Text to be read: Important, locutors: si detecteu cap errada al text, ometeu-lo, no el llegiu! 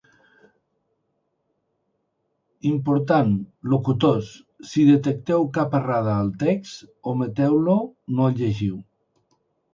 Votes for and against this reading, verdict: 2, 0, accepted